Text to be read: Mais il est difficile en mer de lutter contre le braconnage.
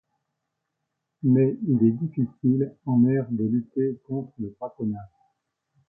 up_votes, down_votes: 2, 0